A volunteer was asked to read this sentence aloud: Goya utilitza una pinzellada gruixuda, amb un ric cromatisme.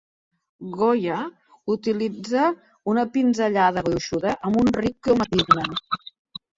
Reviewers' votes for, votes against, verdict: 0, 2, rejected